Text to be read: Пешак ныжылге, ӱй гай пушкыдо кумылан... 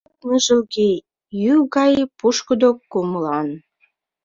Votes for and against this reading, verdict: 1, 2, rejected